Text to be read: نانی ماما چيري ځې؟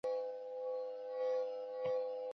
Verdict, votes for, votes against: rejected, 1, 2